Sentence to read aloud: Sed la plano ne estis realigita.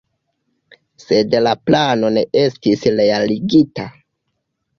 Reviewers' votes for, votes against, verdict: 2, 0, accepted